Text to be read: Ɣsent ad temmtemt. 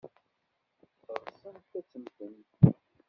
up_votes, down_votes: 1, 2